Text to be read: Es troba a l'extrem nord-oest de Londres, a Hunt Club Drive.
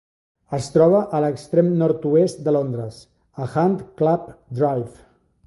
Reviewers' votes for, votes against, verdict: 2, 0, accepted